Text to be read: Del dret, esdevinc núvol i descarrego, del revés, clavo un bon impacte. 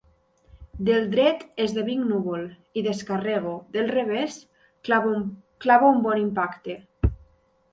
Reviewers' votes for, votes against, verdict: 0, 3, rejected